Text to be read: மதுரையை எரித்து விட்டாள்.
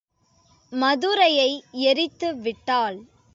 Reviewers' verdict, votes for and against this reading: accepted, 2, 0